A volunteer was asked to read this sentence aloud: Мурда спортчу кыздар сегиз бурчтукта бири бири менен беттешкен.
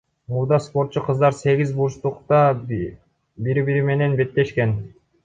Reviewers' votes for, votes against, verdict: 1, 2, rejected